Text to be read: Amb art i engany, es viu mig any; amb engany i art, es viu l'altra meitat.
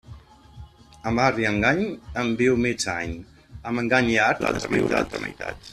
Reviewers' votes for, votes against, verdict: 0, 2, rejected